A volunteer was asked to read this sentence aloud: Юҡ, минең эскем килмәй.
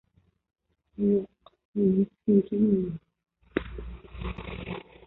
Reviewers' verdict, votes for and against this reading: rejected, 0, 2